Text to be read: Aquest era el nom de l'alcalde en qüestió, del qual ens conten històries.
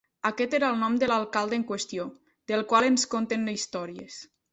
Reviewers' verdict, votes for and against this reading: rejected, 0, 2